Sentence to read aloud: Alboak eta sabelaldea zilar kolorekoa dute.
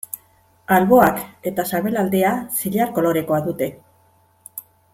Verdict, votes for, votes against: accepted, 2, 0